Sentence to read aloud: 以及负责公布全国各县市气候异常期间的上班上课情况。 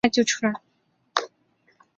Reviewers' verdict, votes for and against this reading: rejected, 0, 2